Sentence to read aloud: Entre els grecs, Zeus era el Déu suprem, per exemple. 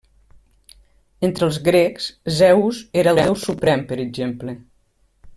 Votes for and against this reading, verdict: 1, 2, rejected